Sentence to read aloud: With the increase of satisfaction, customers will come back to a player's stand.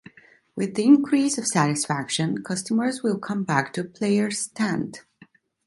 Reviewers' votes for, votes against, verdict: 2, 1, accepted